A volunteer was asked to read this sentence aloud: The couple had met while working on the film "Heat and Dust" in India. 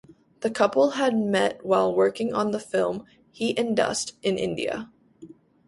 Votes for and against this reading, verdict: 2, 0, accepted